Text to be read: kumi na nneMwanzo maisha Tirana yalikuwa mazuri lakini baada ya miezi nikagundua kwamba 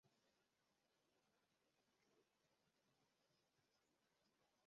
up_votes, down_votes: 0, 2